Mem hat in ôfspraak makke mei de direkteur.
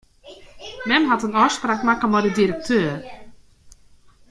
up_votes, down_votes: 0, 2